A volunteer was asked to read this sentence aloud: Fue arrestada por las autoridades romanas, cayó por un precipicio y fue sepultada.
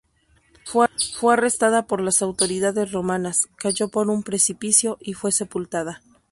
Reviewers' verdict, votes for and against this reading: rejected, 0, 2